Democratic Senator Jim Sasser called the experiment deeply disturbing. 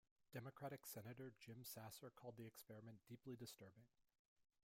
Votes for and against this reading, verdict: 1, 2, rejected